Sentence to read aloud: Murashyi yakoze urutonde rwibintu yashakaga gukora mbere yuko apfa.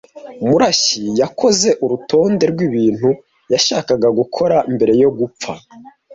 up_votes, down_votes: 1, 2